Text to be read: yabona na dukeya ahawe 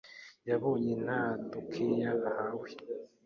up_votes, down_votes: 1, 2